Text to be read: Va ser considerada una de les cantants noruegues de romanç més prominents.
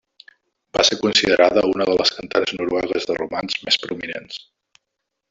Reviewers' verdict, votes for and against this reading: rejected, 0, 2